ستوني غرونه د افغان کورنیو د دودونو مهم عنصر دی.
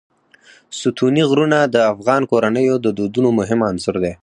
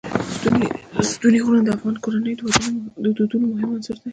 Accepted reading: first